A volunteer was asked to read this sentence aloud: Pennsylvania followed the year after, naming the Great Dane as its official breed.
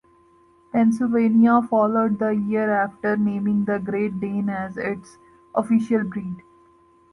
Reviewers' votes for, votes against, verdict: 2, 0, accepted